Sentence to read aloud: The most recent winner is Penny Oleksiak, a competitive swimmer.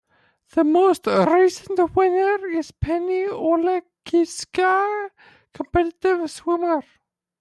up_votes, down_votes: 1, 2